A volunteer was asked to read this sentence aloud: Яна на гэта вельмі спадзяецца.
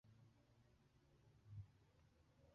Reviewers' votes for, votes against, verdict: 1, 2, rejected